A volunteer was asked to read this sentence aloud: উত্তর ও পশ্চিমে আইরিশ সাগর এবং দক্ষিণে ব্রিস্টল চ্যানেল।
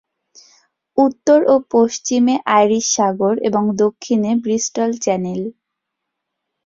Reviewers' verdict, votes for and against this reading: accepted, 22, 0